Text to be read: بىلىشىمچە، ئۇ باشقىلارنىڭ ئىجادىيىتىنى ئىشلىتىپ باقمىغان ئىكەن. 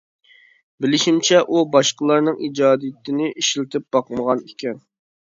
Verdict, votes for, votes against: accepted, 2, 0